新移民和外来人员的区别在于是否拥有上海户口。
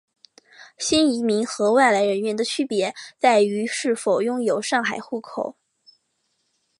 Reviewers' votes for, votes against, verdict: 4, 0, accepted